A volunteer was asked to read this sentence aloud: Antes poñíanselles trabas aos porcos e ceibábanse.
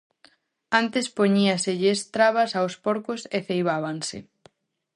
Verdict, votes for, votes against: rejected, 0, 2